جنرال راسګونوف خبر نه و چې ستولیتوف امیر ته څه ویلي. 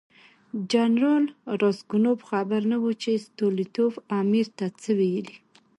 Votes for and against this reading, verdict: 2, 0, accepted